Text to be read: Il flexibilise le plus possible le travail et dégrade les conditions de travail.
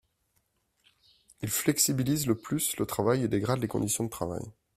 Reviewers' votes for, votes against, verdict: 0, 2, rejected